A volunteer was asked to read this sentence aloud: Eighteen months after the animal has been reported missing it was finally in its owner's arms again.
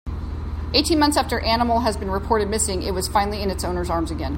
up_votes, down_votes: 1, 2